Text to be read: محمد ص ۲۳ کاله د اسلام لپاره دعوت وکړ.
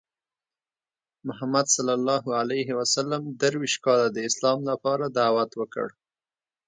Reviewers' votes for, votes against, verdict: 0, 2, rejected